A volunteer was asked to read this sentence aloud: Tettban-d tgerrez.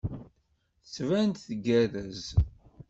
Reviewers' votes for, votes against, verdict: 2, 0, accepted